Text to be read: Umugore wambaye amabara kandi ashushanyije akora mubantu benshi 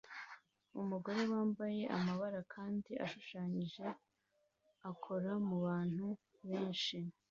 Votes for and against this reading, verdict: 2, 0, accepted